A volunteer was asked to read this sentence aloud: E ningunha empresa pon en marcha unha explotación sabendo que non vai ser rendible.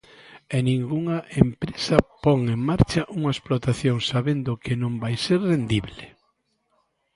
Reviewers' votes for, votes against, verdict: 3, 0, accepted